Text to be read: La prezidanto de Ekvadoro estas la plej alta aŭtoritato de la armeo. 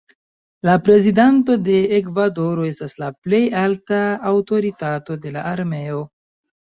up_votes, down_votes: 0, 2